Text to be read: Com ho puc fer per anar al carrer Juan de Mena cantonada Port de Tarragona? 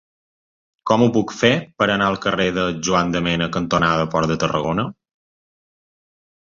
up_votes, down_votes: 0, 2